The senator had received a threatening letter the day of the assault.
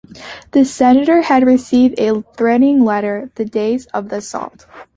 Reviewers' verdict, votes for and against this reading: rejected, 1, 2